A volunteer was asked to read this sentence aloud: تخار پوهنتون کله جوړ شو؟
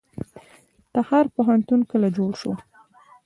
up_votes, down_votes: 2, 0